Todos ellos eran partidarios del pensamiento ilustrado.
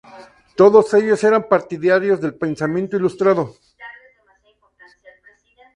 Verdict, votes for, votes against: rejected, 0, 2